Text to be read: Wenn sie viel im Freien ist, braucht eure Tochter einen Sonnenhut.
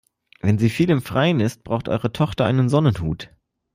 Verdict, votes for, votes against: accepted, 2, 0